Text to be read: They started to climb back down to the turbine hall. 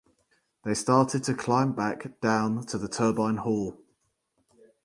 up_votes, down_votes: 0, 2